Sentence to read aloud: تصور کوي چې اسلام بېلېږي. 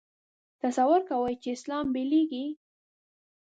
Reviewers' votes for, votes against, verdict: 1, 2, rejected